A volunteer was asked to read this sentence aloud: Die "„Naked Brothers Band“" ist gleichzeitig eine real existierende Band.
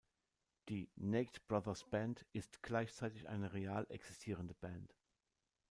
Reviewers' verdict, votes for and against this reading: rejected, 1, 2